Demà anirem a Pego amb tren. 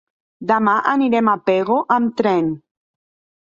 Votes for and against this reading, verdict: 3, 0, accepted